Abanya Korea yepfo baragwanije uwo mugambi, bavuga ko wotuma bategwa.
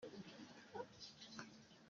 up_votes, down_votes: 0, 2